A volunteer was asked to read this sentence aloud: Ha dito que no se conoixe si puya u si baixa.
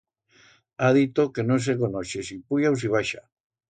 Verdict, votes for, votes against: accepted, 2, 0